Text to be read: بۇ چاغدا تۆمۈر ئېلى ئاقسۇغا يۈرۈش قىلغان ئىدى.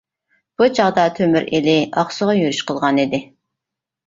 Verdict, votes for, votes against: accepted, 2, 0